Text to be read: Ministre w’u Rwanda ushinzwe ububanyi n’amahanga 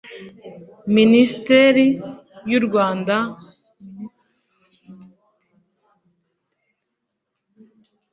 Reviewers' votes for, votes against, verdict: 2, 0, accepted